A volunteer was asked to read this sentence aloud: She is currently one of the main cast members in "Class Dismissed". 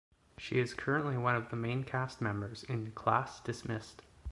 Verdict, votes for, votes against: accepted, 2, 0